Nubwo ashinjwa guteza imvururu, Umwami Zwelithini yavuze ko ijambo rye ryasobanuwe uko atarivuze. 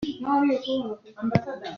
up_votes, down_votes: 0, 2